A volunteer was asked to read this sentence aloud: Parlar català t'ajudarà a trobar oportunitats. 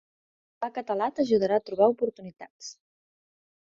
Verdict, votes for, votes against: rejected, 0, 2